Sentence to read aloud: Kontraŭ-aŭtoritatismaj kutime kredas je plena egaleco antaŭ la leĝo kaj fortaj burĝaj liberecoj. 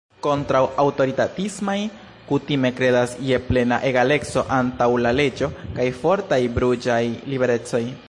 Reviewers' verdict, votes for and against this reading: rejected, 1, 2